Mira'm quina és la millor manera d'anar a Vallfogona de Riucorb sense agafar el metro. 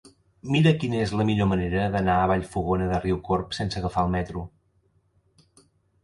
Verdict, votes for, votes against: rejected, 0, 2